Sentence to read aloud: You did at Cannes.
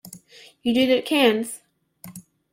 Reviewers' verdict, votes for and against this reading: rejected, 1, 2